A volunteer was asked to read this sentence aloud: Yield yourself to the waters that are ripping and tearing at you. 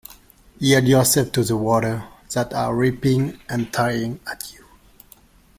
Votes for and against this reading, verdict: 0, 2, rejected